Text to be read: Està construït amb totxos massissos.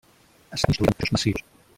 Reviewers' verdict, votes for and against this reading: rejected, 0, 2